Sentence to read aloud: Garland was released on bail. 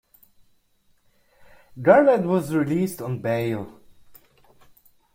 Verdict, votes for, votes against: accepted, 2, 1